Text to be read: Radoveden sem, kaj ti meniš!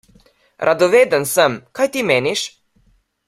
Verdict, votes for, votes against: rejected, 1, 2